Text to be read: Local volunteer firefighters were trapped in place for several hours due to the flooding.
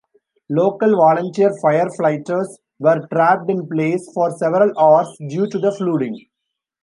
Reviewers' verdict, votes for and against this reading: rejected, 0, 2